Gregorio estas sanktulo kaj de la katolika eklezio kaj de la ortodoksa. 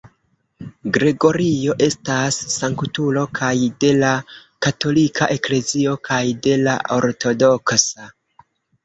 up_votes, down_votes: 1, 2